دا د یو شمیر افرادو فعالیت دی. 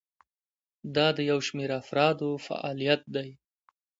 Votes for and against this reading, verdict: 2, 0, accepted